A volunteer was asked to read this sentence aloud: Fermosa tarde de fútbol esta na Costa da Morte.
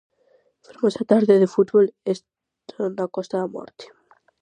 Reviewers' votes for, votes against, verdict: 0, 4, rejected